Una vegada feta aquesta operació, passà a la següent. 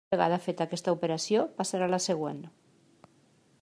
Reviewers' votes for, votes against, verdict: 0, 2, rejected